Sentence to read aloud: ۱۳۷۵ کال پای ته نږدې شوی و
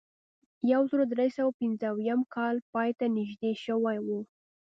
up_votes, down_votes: 0, 2